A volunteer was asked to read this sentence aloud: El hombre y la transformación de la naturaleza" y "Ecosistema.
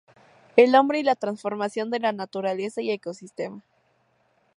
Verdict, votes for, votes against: accepted, 4, 0